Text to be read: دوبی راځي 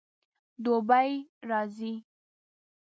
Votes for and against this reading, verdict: 1, 2, rejected